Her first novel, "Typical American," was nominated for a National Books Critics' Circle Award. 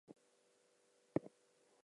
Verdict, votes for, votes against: rejected, 0, 2